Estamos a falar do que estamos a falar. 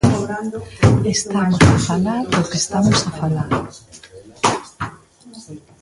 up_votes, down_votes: 0, 2